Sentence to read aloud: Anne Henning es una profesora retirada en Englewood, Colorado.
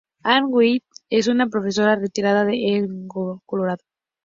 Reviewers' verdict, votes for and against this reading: rejected, 0, 4